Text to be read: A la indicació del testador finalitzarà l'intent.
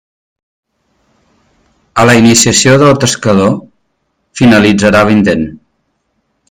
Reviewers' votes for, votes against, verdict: 0, 2, rejected